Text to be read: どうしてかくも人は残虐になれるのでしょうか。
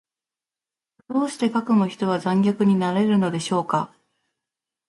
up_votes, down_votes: 2, 0